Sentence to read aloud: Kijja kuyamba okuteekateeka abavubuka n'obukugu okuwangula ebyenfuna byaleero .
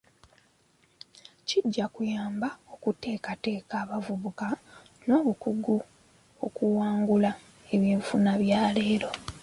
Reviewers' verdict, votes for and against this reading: accepted, 2, 0